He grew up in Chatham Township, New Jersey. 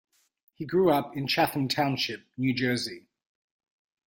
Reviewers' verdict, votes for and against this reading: accepted, 2, 0